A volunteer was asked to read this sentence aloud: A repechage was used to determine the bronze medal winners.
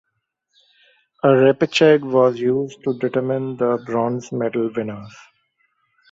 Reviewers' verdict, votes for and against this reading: rejected, 0, 2